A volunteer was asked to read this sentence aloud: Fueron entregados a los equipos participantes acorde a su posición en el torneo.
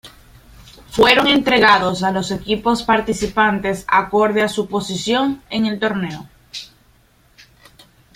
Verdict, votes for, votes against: accepted, 2, 0